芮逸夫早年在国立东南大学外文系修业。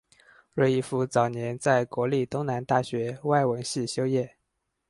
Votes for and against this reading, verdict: 4, 0, accepted